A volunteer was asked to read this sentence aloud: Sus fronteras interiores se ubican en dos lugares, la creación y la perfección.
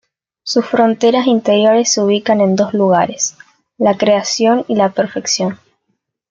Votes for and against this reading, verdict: 2, 0, accepted